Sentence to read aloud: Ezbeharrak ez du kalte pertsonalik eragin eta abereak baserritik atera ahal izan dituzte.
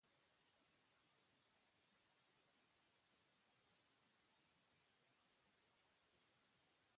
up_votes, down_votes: 0, 5